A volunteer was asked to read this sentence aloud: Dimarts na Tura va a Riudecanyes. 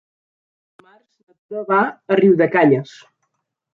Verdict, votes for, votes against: rejected, 0, 2